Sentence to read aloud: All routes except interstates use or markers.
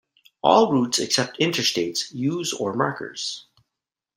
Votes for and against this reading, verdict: 0, 2, rejected